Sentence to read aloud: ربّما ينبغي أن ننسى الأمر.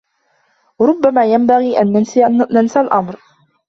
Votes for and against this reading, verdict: 1, 2, rejected